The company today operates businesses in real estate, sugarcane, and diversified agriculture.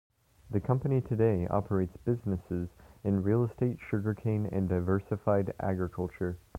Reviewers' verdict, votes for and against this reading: accepted, 2, 0